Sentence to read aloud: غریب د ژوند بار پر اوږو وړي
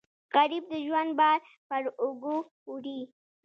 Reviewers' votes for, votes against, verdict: 0, 2, rejected